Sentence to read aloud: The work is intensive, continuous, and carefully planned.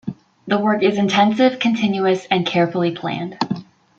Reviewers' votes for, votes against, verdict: 2, 0, accepted